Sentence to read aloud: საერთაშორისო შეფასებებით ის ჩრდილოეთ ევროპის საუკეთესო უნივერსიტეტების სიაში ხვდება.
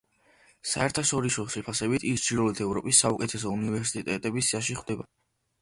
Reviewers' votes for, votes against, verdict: 0, 2, rejected